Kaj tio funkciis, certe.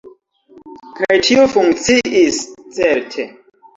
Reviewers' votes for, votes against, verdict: 2, 0, accepted